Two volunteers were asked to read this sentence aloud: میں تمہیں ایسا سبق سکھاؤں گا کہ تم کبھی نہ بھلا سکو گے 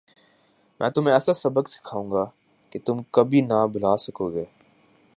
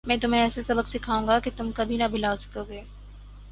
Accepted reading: second